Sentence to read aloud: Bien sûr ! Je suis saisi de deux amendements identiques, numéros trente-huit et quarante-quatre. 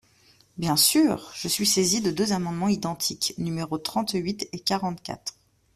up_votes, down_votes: 2, 0